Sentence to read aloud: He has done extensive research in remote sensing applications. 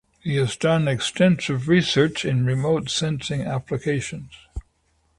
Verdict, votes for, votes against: accepted, 2, 0